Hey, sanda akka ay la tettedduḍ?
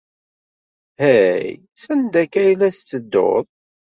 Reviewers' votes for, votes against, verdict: 2, 0, accepted